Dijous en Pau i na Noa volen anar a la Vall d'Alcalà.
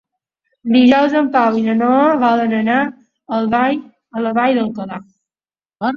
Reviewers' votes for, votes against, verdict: 1, 3, rejected